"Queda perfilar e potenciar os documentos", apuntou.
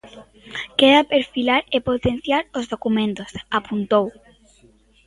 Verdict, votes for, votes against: accepted, 2, 1